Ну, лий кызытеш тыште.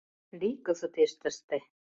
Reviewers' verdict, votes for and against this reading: rejected, 0, 2